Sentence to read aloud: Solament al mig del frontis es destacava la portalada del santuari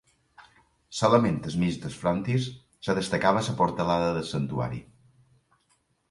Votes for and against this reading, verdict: 0, 2, rejected